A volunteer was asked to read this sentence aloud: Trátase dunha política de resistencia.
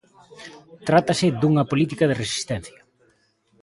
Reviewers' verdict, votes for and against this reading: accepted, 2, 0